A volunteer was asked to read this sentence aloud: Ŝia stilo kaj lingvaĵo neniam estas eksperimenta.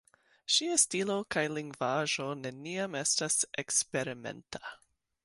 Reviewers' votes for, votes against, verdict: 2, 1, accepted